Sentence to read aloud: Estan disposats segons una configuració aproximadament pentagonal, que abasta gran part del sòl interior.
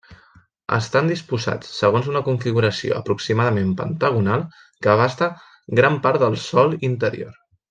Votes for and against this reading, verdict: 3, 0, accepted